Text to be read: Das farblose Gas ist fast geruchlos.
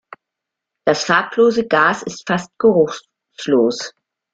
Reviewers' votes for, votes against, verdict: 1, 2, rejected